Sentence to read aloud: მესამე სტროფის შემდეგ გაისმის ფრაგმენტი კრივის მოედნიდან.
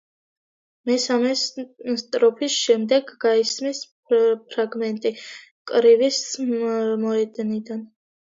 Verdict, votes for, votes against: rejected, 0, 2